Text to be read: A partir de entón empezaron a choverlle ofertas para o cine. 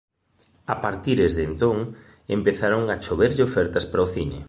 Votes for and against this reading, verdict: 1, 3, rejected